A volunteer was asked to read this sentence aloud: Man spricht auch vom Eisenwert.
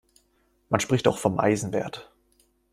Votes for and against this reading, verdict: 2, 0, accepted